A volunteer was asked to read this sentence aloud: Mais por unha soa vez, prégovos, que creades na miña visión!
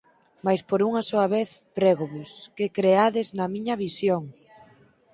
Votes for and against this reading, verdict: 4, 0, accepted